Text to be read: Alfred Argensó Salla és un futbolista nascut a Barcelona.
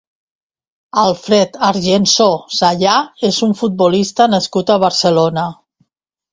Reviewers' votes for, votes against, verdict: 0, 2, rejected